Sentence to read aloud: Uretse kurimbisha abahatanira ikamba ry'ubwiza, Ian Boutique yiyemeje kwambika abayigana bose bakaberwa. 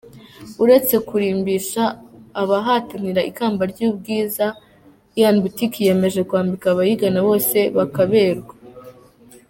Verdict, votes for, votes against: rejected, 1, 2